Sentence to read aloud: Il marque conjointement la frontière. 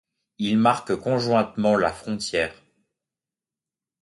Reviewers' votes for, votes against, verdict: 2, 0, accepted